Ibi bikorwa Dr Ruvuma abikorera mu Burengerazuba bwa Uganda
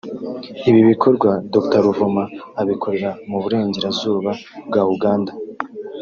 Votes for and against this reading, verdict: 0, 2, rejected